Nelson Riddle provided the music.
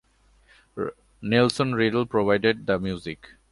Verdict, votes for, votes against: accepted, 3, 0